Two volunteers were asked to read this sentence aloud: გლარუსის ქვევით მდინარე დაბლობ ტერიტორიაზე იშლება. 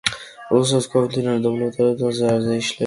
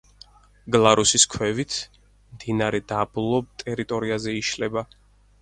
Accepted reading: second